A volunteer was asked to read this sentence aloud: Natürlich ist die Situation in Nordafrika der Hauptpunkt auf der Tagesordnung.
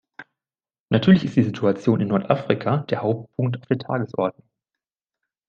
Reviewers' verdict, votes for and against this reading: accepted, 2, 1